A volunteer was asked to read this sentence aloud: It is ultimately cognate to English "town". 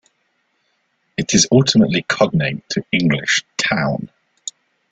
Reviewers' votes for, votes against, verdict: 2, 0, accepted